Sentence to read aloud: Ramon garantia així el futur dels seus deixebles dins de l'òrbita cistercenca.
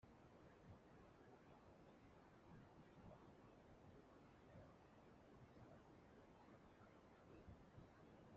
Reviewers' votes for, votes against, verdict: 0, 2, rejected